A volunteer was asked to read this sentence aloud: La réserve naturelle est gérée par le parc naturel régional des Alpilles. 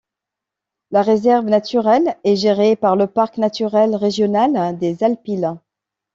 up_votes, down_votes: 1, 2